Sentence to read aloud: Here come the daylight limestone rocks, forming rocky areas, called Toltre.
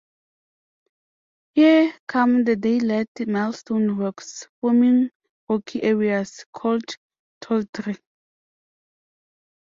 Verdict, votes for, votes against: rejected, 0, 2